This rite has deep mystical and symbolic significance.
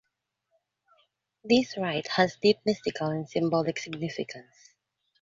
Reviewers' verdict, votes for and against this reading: accepted, 2, 0